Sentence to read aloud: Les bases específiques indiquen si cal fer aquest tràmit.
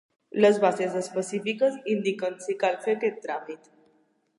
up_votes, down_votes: 2, 0